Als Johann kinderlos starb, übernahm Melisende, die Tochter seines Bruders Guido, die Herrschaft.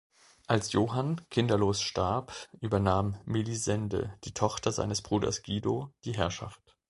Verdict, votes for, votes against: accepted, 2, 0